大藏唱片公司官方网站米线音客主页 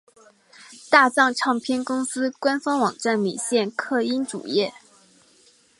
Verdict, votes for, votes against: rejected, 1, 2